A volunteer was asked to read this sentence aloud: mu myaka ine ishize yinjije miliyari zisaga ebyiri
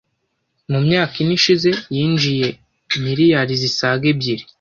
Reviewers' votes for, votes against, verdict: 1, 2, rejected